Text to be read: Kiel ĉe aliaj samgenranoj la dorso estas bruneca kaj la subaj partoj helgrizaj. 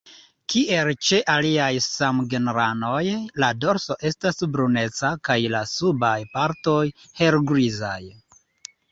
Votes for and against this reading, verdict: 2, 0, accepted